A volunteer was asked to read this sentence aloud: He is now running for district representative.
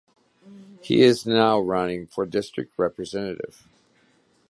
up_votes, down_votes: 2, 0